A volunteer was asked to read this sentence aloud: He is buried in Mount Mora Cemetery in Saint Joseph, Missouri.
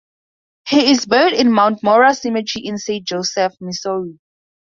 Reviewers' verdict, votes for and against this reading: accepted, 4, 0